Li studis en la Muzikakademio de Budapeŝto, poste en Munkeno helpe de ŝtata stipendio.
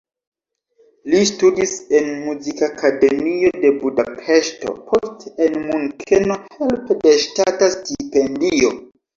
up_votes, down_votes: 0, 2